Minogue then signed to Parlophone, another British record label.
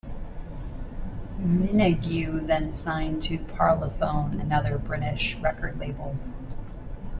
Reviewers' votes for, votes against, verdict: 1, 2, rejected